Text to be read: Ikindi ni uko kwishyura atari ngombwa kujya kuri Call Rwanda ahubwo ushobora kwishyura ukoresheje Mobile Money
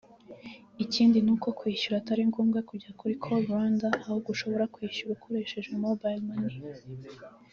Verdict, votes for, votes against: rejected, 1, 2